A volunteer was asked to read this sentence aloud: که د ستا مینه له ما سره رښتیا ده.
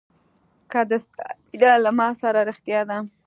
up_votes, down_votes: 2, 1